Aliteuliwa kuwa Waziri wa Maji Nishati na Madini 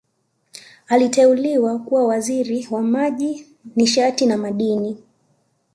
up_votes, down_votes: 2, 0